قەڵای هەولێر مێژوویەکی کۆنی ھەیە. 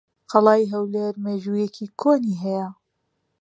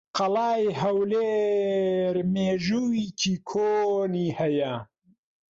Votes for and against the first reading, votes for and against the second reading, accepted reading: 2, 0, 1, 2, first